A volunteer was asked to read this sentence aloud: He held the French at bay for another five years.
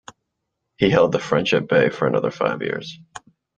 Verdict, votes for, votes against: accepted, 2, 0